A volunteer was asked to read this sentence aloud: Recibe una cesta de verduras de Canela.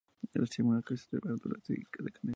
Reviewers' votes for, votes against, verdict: 2, 0, accepted